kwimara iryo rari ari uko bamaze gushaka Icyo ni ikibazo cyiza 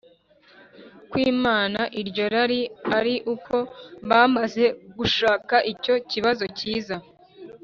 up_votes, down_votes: 0, 2